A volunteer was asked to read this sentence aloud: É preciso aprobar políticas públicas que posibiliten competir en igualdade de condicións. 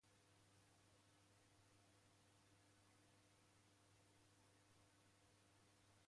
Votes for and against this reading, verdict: 0, 2, rejected